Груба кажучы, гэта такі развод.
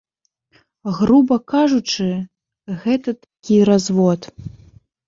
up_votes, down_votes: 1, 2